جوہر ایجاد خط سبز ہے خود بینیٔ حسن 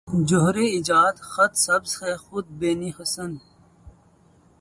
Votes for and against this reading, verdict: 0, 2, rejected